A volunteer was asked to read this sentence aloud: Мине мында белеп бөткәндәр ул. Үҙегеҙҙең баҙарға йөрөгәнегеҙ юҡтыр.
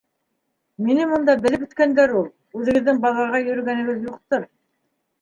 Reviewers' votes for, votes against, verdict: 2, 0, accepted